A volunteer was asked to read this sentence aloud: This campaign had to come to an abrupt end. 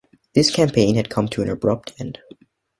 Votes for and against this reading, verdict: 2, 0, accepted